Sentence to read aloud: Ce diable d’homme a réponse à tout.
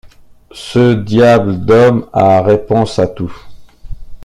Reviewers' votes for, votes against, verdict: 2, 1, accepted